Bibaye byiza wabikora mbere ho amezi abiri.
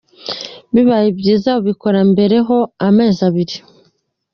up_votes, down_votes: 2, 0